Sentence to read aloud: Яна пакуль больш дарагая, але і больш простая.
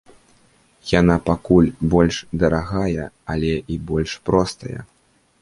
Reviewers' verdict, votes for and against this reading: accepted, 2, 0